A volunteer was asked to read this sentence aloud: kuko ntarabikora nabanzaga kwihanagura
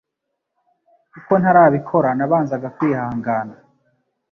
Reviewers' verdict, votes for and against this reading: rejected, 1, 2